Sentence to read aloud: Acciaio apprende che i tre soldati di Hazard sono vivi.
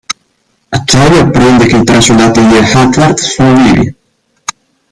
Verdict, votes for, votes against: rejected, 1, 2